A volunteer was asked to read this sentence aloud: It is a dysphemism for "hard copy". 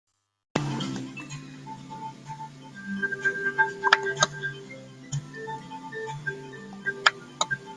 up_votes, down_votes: 0, 2